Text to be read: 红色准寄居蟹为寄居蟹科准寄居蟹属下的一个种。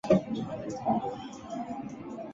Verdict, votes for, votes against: rejected, 1, 2